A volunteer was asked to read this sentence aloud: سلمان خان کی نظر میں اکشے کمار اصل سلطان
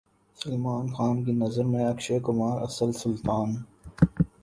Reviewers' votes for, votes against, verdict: 3, 0, accepted